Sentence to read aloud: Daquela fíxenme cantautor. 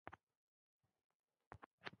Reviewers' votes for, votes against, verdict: 0, 2, rejected